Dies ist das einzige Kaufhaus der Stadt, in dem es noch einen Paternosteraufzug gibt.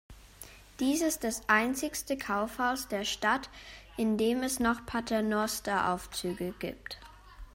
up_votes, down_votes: 1, 2